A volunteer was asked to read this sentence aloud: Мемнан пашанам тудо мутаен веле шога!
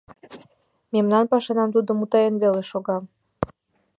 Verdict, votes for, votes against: accepted, 2, 0